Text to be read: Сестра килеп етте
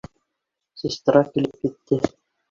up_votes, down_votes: 1, 2